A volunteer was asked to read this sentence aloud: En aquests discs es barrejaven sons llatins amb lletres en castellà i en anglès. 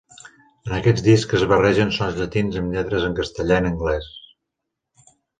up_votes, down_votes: 1, 2